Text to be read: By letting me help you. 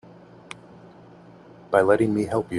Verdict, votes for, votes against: rejected, 1, 2